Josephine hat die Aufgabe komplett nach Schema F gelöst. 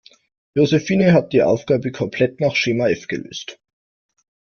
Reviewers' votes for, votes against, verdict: 1, 2, rejected